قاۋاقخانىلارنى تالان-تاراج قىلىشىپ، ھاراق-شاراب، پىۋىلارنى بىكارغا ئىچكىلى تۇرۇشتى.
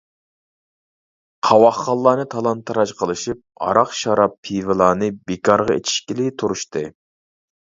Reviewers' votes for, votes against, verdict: 0, 2, rejected